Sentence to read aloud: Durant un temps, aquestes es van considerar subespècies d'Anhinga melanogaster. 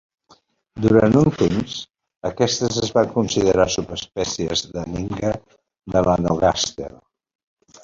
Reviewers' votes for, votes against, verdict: 0, 2, rejected